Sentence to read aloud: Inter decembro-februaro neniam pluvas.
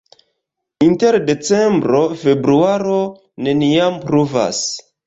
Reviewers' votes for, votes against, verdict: 1, 2, rejected